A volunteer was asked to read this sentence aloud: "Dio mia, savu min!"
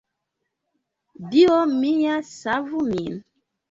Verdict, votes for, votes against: accepted, 2, 0